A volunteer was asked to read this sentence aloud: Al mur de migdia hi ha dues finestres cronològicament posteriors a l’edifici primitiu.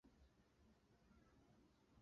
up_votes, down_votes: 1, 3